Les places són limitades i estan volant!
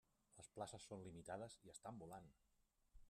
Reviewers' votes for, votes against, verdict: 1, 2, rejected